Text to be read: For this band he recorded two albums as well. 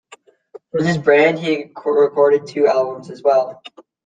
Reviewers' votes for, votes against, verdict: 0, 2, rejected